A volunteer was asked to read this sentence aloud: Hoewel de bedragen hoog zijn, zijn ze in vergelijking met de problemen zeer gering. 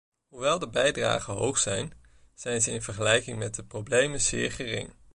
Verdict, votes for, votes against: accepted, 2, 0